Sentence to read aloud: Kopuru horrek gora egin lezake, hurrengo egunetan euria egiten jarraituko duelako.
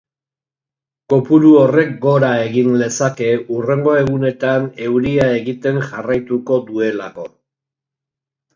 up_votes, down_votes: 5, 0